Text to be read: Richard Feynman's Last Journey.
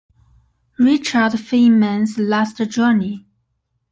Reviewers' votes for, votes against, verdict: 2, 1, accepted